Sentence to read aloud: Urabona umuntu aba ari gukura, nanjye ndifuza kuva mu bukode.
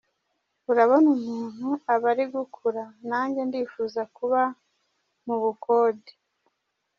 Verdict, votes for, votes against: rejected, 0, 2